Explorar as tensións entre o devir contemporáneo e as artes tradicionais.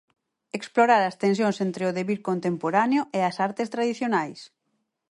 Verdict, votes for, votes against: accepted, 4, 0